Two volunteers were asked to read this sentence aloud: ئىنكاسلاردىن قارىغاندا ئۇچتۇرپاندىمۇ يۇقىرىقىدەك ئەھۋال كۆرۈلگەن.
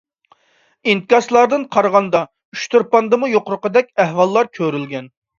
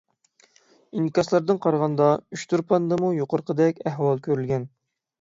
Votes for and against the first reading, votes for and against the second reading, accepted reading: 0, 2, 6, 0, second